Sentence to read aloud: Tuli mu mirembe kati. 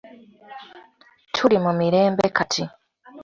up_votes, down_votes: 2, 0